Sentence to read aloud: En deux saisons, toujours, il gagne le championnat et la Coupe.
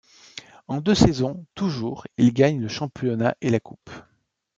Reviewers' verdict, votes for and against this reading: accepted, 2, 0